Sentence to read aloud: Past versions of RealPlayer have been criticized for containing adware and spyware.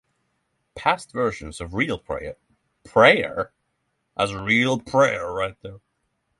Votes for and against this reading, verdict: 0, 6, rejected